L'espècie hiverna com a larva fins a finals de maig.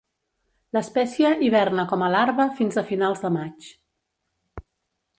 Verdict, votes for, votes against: accepted, 2, 0